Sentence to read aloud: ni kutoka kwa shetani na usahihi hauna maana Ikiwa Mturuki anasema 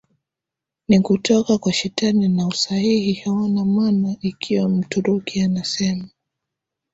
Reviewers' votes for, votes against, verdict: 2, 1, accepted